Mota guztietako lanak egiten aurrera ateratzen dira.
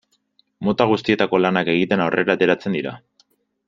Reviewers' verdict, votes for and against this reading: rejected, 0, 2